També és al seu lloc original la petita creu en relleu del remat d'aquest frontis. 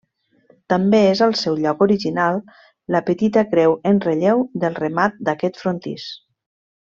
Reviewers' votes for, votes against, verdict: 1, 2, rejected